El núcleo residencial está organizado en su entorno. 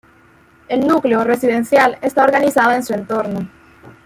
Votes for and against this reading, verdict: 1, 2, rejected